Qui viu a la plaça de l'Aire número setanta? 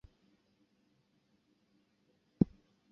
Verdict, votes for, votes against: rejected, 0, 2